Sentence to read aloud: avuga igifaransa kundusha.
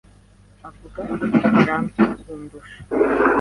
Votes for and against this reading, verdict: 0, 2, rejected